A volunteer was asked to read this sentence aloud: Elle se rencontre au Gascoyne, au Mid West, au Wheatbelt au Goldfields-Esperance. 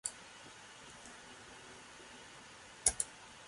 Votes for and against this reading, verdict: 0, 2, rejected